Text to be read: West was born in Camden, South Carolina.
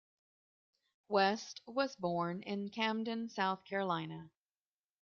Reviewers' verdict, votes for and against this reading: accepted, 2, 1